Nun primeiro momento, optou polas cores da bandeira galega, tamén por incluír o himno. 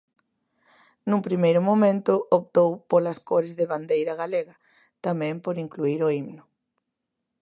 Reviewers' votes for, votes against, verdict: 1, 2, rejected